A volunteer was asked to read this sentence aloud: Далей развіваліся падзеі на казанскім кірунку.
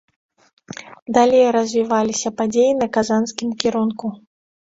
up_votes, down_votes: 2, 0